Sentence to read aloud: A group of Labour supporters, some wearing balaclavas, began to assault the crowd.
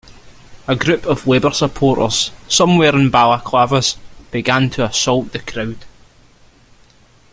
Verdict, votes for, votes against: accepted, 2, 0